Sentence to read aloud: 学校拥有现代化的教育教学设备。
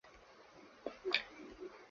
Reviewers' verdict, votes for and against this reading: rejected, 0, 2